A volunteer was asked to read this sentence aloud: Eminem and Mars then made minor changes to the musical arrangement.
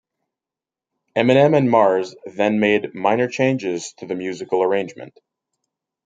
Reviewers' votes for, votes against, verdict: 2, 0, accepted